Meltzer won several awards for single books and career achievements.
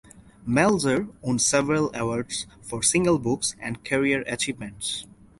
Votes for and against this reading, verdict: 2, 2, rejected